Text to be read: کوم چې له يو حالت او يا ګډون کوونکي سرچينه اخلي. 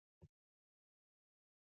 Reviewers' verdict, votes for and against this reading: accepted, 2, 0